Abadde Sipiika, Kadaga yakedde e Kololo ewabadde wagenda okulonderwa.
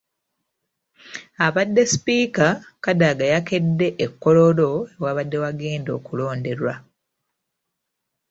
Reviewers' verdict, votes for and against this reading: accepted, 2, 0